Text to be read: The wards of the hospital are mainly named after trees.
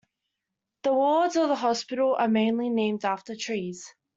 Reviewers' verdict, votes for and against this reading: accepted, 2, 0